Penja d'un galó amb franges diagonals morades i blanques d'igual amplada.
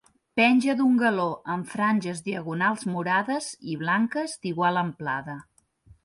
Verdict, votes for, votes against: accepted, 2, 0